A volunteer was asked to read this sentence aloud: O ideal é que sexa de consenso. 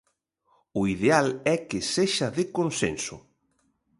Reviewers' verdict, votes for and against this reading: accepted, 2, 0